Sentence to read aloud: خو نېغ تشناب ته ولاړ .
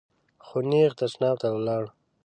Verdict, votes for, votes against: accepted, 2, 0